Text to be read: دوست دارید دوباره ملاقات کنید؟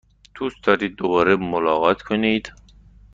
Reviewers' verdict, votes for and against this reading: accepted, 2, 0